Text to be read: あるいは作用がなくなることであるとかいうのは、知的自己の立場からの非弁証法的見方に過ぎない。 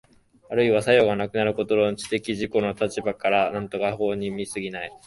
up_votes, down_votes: 1, 2